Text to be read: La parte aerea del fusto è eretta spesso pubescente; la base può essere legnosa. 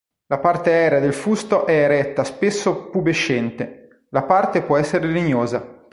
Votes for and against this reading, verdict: 3, 1, accepted